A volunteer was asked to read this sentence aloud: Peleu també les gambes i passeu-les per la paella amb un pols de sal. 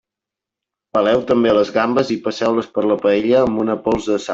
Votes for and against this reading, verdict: 1, 2, rejected